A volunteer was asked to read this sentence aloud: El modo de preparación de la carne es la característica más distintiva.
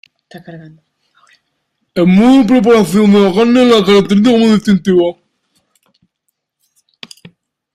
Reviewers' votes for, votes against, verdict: 0, 2, rejected